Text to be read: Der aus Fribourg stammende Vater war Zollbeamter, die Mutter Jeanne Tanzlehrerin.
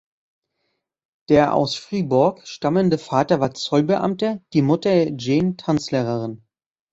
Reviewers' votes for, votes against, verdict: 0, 2, rejected